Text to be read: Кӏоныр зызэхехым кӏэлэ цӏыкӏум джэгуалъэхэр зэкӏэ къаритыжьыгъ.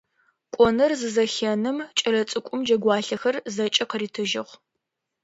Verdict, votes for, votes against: rejected, 0, 2